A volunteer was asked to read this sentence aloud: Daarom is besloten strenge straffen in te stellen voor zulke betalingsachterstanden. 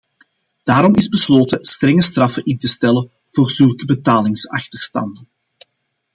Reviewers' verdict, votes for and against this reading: accepted, 2, 0